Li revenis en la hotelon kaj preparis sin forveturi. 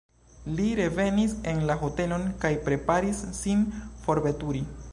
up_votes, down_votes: 2, 1